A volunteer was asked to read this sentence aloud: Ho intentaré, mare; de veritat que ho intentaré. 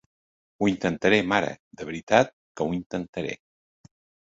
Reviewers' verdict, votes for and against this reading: accepted, 4, 0